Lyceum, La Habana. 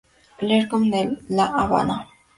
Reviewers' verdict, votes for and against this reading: rejected, 2, 2